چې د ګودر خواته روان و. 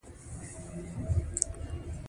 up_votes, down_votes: 2, 1